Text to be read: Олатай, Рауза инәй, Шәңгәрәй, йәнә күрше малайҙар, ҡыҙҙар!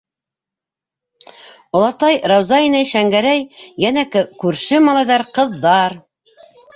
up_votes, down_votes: 0, 2